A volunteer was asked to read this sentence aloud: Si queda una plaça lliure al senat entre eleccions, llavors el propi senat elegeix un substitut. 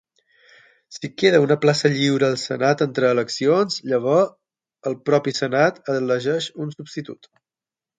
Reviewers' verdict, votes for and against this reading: accepted, 6, 3